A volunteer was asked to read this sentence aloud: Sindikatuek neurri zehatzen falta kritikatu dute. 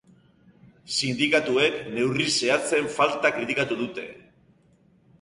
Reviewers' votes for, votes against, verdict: 2, 0, accepted